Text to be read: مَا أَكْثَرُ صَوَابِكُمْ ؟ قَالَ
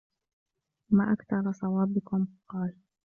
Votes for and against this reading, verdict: 2, 0, accepted